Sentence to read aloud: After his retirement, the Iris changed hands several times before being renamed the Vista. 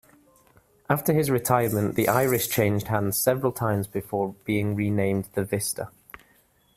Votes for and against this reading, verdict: 2, 0, accepted